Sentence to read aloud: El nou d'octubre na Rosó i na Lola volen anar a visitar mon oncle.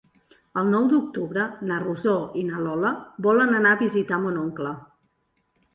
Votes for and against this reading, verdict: 2, 0, accepted